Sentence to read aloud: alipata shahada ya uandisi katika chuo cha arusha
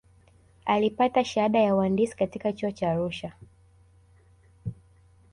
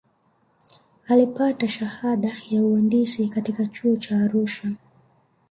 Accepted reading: second